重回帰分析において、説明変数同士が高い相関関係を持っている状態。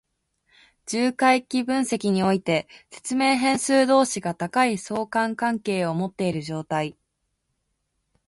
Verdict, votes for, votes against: accepted, 2, 0